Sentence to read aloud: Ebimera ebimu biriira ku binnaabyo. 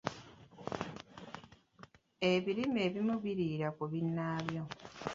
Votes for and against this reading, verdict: 1, 2, rejected